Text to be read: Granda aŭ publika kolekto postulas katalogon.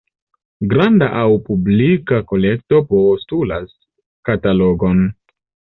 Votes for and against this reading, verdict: 2, 0, accepted